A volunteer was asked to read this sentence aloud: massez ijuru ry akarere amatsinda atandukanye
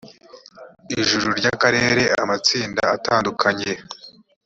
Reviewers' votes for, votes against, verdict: 0, 2, rejected